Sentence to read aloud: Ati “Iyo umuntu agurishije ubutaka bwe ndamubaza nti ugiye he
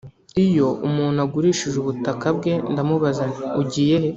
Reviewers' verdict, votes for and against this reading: rejected, 0, 2